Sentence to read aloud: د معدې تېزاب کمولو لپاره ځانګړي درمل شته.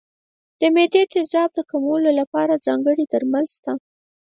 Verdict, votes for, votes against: rejected, 2, 4